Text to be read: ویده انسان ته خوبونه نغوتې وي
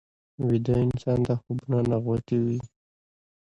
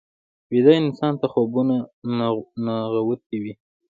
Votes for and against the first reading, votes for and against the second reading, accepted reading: 2, 0, 1, 2, first